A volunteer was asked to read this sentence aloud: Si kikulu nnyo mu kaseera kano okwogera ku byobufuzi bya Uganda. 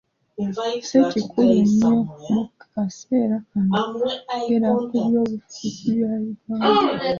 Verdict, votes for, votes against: accepted, 2, 0